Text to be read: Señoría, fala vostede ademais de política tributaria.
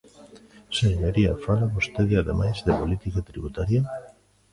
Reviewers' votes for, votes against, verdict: 0, 2, rejected